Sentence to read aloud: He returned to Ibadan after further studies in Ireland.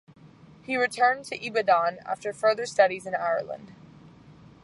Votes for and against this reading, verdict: 2, 0, accepted